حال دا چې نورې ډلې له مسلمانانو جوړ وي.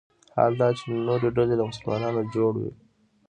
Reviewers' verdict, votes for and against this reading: accepted, 2, 0